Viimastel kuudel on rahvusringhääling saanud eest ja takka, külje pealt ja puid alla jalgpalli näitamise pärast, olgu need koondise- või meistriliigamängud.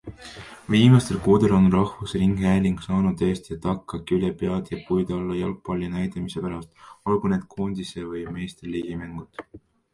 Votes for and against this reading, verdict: 0, 2, rejected